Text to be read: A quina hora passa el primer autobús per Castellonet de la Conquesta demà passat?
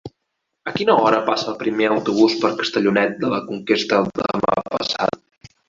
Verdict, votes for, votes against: rejected, 1, 2